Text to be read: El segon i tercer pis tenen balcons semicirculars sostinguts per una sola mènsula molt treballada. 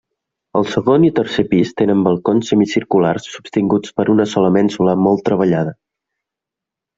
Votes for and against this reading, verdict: 2, 0, accepted